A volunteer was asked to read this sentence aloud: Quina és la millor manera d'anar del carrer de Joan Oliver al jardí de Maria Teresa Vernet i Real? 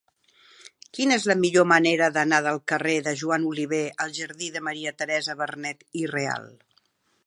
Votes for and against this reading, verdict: 2, 0, accepted